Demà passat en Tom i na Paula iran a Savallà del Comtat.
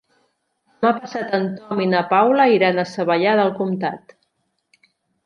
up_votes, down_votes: 0, 2